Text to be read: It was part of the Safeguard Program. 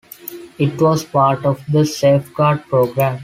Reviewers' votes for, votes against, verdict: 2, 1, accepted